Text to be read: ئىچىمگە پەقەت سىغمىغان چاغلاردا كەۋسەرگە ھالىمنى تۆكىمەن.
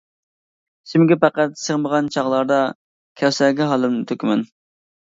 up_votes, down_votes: 1, 2